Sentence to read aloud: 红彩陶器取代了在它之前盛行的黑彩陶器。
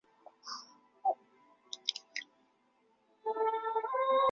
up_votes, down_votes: 1, 2